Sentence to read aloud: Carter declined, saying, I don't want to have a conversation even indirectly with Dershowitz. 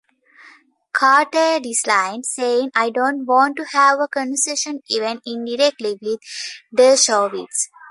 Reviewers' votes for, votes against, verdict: 0, 2, rejected